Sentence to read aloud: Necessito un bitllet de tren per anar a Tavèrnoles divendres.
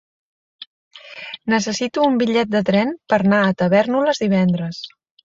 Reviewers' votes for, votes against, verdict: 0, 2, rejected